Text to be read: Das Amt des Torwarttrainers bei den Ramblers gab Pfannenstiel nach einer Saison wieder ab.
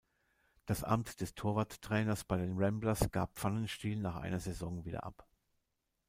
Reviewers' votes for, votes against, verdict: 2, 1, accepted